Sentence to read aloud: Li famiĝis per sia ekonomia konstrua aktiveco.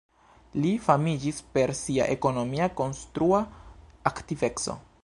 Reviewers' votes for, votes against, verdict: 1, 2, rejected